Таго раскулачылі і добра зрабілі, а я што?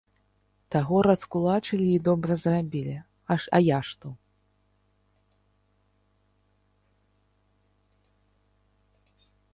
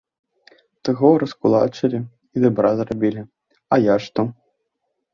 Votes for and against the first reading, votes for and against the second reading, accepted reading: 0, 2, 2, 1, second